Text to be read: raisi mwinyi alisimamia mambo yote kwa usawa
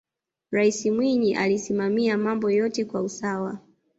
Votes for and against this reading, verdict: 2, 0, accepted